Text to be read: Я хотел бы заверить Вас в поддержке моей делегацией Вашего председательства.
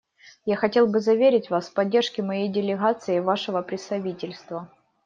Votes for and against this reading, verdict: 2, 1, accepted